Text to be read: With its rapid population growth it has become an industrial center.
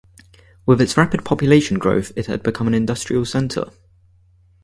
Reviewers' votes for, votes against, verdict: 2, 4, rejected